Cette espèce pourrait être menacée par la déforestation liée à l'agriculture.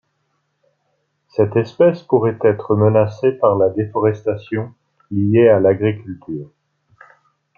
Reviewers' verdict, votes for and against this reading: accepted, 2, 0